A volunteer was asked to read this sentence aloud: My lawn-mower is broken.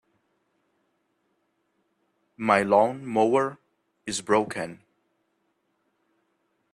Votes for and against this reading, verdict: 2, 0, accepted